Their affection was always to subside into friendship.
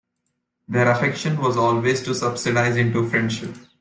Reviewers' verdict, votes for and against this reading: rejected, 1, 2